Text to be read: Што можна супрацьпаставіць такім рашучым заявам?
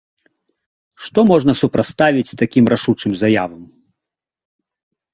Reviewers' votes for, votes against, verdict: 1, 2, rejected